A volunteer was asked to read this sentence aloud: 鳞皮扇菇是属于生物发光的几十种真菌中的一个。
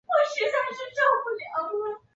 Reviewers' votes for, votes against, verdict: 0, 2, rejected